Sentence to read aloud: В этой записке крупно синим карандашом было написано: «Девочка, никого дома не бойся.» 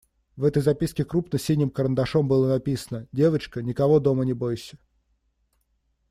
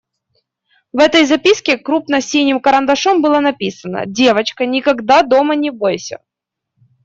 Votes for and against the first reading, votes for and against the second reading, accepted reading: 2, 0, 1, 2, first